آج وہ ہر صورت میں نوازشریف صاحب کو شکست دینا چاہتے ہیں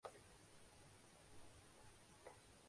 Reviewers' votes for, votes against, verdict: 0, 2, rejected